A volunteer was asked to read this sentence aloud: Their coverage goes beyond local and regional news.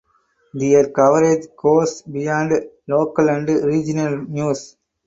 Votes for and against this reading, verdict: 6, 0, accepted